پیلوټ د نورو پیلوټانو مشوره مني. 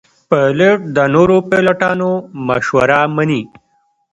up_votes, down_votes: 2, 0